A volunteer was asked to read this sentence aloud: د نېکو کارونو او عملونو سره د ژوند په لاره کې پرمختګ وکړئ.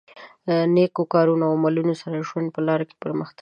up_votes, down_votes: 1, 2